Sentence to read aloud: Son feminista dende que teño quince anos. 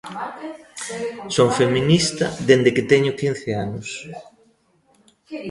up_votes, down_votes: 2, 1